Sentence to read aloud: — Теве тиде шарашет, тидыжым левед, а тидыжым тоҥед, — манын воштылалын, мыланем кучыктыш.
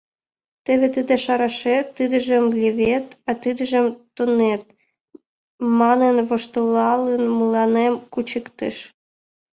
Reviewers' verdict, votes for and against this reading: rejected, 1, 2